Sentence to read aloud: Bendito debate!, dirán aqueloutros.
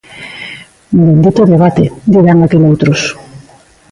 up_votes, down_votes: 1, 2